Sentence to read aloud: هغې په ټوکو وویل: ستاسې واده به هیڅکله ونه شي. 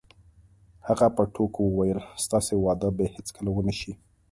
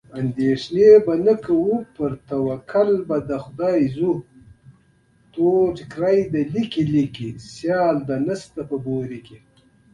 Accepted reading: first